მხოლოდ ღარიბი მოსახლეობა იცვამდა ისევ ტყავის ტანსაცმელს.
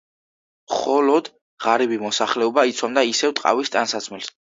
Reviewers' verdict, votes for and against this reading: accepted, 2, 0